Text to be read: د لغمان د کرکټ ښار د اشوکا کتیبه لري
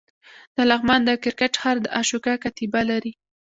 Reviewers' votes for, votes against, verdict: 2, 0, accepted